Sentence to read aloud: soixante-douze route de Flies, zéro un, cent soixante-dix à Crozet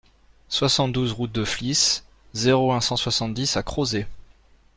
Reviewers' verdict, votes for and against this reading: accepted, 2, 0